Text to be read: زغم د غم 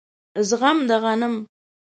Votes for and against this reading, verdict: 0, 2, rejected